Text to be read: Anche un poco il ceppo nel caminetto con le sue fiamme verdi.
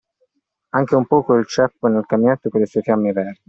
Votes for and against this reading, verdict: 2, 1, accepted